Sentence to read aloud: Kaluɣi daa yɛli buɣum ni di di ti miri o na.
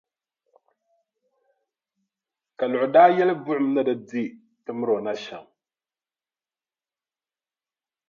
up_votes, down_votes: 1, 2